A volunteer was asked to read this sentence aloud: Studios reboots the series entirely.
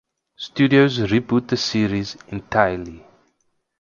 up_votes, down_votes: 0, 4